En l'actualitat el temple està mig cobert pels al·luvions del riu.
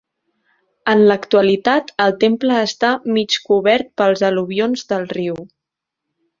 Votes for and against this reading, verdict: 2, 0, accepted